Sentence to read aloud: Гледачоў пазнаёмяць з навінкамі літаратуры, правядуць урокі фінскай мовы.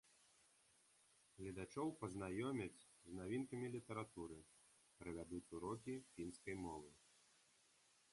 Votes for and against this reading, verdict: 2, 1, accepted